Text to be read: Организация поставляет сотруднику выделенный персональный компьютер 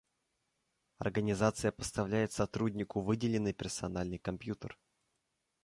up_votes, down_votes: 2, 0